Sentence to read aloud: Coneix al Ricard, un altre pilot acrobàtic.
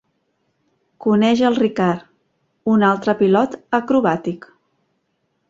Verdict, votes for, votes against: accepted, 2, 0